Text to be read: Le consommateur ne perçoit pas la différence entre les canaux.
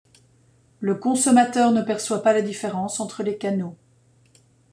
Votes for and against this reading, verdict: 2, 0, accepted